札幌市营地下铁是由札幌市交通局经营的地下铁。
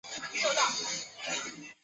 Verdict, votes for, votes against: rejected, 1, 4